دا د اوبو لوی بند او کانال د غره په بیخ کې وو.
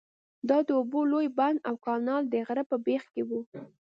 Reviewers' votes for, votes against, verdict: 2, 0, accepted